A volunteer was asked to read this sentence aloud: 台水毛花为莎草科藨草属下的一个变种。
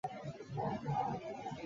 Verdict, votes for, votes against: rejected, 2, 6